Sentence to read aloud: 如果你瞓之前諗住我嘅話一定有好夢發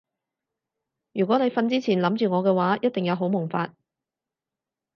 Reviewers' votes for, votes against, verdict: 4, 0, accepted